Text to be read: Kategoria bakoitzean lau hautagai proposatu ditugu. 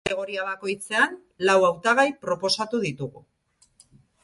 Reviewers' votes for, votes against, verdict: 2, 2, rejected